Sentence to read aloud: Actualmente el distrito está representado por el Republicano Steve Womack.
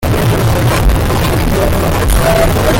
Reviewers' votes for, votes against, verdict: 0, 2, rejected